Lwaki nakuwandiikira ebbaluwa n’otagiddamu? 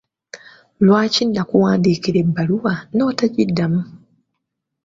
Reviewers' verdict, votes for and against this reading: accepted, 2, 1